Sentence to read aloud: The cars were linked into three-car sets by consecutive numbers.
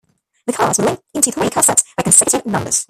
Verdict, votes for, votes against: rejected, 1, 2